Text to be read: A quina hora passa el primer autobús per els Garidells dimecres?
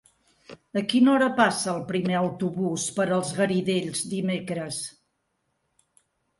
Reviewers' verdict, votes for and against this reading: accepted, 4, 1